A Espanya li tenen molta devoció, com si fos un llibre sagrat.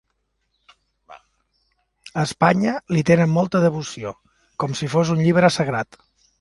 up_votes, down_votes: 2, 0